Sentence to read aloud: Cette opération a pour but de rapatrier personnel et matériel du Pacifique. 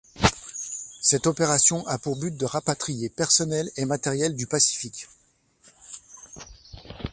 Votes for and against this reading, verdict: 2, 0, accepted